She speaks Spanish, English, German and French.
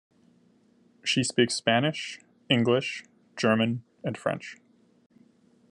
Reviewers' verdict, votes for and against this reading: accepted, 2, 0